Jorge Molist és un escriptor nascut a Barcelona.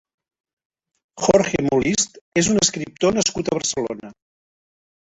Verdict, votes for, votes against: rejected, 0, 2